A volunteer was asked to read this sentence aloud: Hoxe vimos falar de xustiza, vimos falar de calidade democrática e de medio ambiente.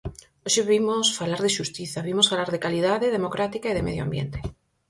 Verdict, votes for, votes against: accepted, 4, 0